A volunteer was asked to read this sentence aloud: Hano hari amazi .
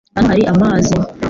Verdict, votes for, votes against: rejected, 1, 2